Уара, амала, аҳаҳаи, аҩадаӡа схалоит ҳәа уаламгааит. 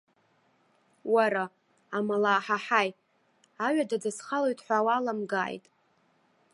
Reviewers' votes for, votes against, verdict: 0, 2, rejected